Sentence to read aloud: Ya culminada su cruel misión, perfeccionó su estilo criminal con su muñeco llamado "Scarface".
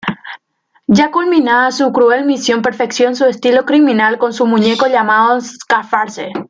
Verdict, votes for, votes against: rejected, 1, 2